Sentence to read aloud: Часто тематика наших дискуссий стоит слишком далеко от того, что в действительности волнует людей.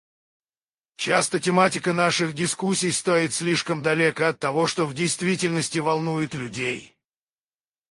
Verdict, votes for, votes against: rejected, 0, 4